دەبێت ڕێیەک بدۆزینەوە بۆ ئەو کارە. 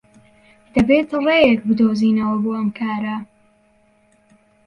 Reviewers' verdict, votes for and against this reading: rejected, 1, 3